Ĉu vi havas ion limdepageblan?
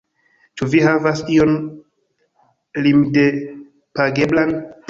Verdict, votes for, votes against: rejected, 1, 2